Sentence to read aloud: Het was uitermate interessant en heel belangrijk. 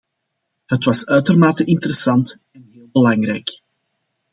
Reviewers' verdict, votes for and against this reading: accepted, 2, 1